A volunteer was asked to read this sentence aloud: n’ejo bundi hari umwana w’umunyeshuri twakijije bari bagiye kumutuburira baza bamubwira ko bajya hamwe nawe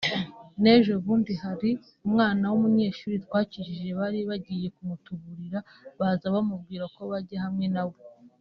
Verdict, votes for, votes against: accepted, 3, 0